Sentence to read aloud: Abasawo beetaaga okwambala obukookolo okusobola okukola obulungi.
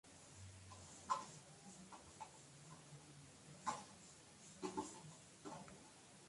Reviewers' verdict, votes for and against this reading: rejected, 0, 2